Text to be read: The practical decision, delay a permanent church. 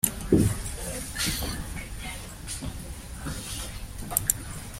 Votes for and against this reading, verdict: 0, 2, rejected